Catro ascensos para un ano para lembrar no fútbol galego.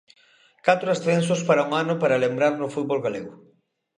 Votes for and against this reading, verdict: 2, 0, accepted